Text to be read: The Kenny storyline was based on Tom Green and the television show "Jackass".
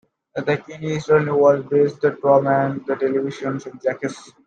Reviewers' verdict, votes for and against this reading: rejected, 1, 2